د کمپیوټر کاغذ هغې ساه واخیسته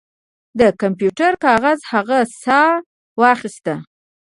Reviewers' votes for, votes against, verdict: 2, 1, accepted